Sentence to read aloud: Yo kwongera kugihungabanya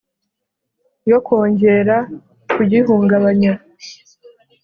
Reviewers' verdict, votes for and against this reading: accepted, 2, 0